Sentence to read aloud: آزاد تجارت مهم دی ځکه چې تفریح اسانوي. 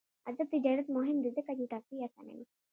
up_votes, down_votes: 1, 2